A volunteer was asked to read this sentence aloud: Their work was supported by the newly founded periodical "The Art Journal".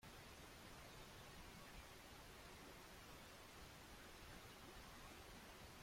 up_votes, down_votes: 0, 2